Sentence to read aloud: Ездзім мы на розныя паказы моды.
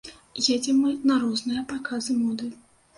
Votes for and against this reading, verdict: 0, 2, rejected